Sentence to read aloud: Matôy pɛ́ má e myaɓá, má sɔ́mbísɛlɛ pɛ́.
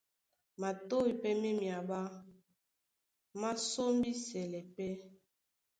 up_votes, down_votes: 1, 2